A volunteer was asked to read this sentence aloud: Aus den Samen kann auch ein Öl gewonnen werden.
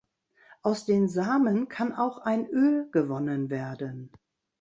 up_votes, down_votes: 2, 0